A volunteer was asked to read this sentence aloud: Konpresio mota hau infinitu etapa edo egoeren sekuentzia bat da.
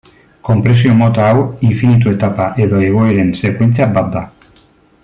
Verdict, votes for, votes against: accepted, 2, 0